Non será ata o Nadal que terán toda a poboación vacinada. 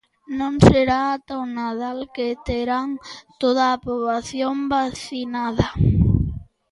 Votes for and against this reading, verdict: 0, 2, rejected